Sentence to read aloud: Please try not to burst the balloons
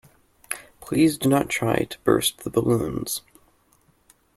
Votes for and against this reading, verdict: 1, 2, rejected